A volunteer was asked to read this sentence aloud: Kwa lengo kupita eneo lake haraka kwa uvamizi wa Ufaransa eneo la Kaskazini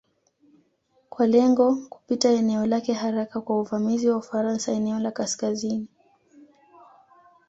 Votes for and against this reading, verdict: 2, 0, accepted